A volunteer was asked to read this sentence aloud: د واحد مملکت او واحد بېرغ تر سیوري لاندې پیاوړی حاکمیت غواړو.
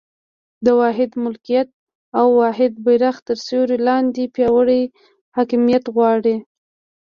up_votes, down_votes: 1, 2